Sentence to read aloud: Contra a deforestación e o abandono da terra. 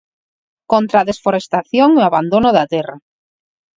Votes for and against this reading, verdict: 4, 6, rejected